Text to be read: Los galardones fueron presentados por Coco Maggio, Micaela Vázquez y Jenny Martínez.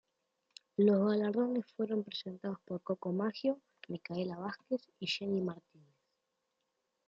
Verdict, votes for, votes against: accepted, 2, 1